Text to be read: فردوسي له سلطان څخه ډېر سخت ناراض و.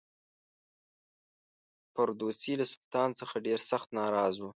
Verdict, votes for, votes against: rejected, 1, 2